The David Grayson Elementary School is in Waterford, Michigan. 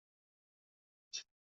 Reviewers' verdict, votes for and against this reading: rejected, 0, 2